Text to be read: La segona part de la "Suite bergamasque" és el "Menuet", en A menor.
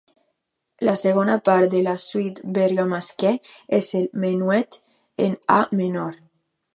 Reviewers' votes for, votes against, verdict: 0, 2, rejected